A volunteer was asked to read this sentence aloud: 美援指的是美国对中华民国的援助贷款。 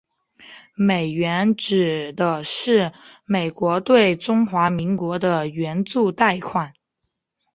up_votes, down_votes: 3, 1